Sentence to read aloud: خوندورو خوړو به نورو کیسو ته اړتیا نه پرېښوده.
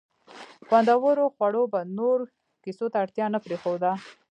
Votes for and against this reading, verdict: 1, 2, rejected